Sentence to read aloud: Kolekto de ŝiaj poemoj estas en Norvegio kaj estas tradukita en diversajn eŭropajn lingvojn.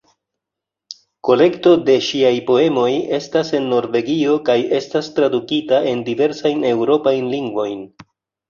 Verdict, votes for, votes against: accepted, 3, 0